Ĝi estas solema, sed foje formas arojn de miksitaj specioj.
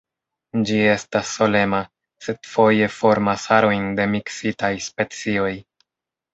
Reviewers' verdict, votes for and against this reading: accepted, 2, 0